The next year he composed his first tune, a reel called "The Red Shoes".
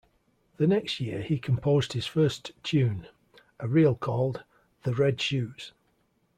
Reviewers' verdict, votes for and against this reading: accepted, 2, 0